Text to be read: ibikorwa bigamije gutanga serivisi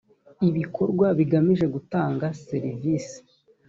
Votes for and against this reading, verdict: 2, 0, accepted